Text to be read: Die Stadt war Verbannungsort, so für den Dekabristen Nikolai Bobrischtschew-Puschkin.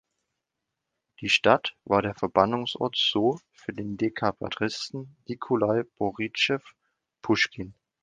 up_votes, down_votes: 1, 2